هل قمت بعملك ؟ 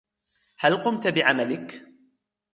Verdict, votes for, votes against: accepted, 2, 1